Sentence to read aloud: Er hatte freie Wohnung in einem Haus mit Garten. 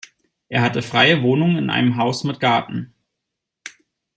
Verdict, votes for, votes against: accepted, 2, 0